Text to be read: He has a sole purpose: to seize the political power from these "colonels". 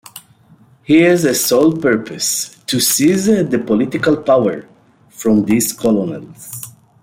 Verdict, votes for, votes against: accepted, 2, 0